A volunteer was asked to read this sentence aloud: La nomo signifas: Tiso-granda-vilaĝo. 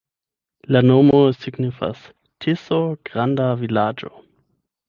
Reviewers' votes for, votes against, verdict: 0, 8, rejected